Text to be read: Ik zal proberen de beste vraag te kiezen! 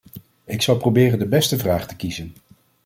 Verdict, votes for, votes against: accepted, 2, 0